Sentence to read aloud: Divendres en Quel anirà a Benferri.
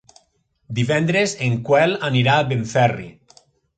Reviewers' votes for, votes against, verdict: 0, 2, rejected